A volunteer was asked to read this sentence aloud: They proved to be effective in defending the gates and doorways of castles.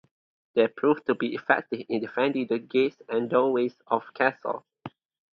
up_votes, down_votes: 2, 0